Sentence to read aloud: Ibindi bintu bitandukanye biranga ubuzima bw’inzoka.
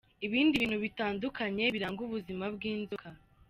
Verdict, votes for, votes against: accepted, 2, 0